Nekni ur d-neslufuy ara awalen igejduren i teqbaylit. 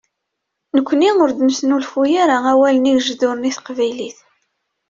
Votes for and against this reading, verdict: 2, 0, accepted